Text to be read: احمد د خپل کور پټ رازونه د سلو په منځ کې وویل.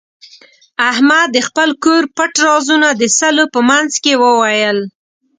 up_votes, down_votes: 2, 0